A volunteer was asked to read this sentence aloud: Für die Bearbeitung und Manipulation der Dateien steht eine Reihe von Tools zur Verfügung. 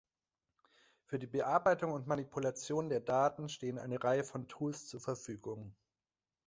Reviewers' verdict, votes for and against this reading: rejected, 1, 2